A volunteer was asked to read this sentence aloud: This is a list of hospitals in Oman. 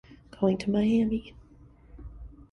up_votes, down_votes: 0, 2